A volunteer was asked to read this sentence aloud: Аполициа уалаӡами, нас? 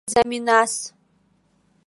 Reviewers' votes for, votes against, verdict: 1, 2, rejected